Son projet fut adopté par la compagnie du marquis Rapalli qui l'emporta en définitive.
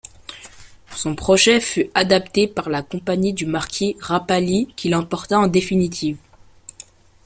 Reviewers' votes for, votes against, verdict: 0, 2, rejected